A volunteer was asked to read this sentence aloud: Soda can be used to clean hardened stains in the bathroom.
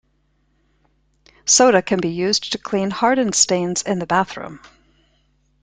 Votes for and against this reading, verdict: 2, 0, accepted